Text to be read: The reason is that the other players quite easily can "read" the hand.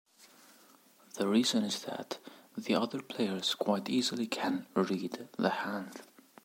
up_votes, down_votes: 2, 0